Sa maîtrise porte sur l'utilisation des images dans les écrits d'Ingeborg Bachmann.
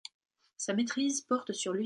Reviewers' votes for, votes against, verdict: 0, 3, rejected